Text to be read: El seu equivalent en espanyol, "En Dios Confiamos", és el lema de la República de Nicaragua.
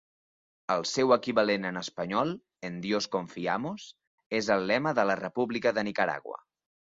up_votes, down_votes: 3, 0